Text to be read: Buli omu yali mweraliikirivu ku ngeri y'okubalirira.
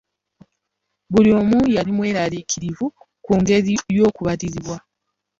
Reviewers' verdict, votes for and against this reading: rejected, 1, 2